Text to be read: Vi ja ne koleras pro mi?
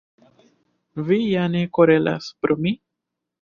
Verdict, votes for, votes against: rejected, 1, 2